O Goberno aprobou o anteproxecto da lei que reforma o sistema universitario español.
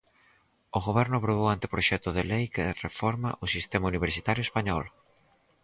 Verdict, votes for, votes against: rejected, 0, 4